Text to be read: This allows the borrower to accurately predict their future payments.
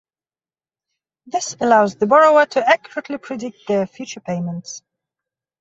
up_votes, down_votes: 2, 0